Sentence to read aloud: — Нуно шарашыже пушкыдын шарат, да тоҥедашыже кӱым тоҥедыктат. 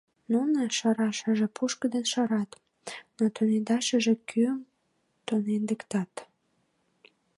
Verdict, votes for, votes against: rejected, 0, 2